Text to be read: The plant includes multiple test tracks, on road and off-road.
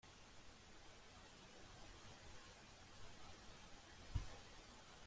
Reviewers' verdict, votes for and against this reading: rejected, 0, 2